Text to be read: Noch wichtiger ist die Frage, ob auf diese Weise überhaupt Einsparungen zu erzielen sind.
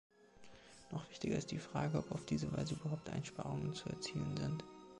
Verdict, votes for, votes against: accepted, 2, 0